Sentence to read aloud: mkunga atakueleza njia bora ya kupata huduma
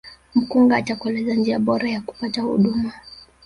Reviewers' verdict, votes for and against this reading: rejected, 0, 3